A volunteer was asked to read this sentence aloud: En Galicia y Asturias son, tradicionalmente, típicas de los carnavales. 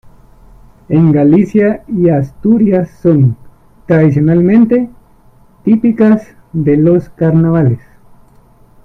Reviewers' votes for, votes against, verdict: 1, 2, rejected